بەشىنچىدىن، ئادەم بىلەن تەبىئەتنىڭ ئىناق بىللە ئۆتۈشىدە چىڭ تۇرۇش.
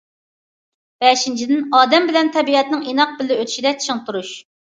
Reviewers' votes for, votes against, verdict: 2, 0, accepted